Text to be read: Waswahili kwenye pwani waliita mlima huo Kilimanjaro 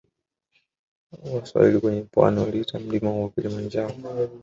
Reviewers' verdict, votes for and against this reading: rejected, 0, 2